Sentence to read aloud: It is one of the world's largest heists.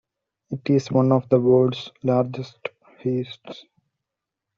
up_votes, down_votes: 1, 2